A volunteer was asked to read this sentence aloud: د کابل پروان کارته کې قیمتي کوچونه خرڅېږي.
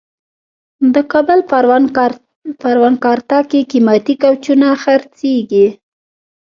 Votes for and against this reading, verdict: 0, 2, rejected